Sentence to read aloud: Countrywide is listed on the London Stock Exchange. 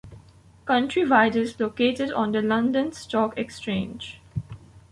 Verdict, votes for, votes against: rejected, 1, 2